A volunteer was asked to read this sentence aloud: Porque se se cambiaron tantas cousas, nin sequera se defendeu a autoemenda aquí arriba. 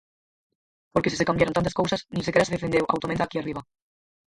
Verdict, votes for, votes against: rejected, 0, 4